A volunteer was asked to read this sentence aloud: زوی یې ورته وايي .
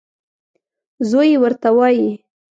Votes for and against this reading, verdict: 2, 0, accepted